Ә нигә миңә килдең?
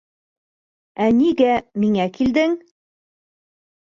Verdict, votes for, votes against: rejected, 0, 2